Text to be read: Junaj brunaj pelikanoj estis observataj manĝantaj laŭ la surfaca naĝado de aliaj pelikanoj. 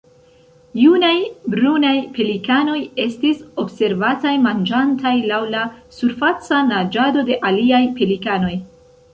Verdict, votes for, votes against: rejected, 2, 3